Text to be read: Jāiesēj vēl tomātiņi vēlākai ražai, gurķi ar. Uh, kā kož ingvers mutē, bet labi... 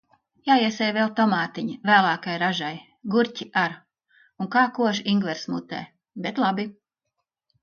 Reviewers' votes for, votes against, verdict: 1, 2, rejected